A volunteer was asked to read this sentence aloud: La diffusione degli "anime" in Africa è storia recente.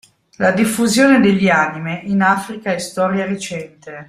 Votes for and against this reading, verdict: 2, 0, accepted